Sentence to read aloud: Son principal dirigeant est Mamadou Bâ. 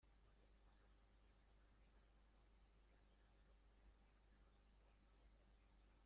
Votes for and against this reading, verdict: 0, 2, rejected